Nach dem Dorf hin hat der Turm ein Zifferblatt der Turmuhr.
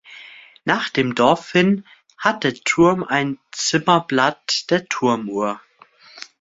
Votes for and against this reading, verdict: 0, 2, rejected